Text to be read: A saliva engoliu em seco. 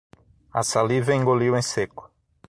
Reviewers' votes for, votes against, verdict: 6, 0, accepted